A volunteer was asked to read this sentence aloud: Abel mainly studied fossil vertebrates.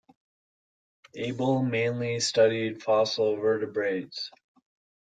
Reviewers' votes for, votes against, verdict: 3, 0, accepted